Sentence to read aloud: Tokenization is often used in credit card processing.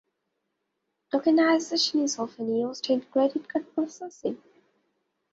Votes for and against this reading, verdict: 2, 0, accepted